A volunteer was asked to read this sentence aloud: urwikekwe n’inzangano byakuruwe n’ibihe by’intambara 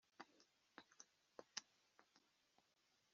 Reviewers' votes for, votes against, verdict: 1, 2, rejected